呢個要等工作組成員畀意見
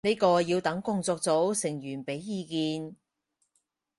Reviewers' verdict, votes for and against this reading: rejected, 0, 4